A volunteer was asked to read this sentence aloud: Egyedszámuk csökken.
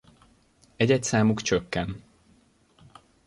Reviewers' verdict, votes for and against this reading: accepted, 2, 0